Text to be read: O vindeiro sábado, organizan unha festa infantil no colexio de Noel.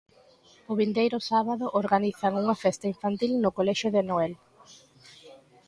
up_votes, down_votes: 2, 0